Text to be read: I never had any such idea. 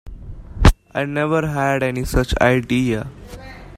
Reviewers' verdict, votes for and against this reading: accepted, 2, 0